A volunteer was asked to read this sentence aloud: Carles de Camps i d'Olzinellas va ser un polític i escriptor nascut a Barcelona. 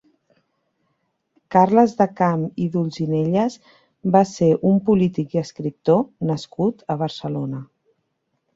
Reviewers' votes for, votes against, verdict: 1, 2, rejected